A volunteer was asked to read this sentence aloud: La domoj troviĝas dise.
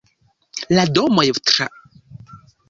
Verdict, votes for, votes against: rejected, 0, 3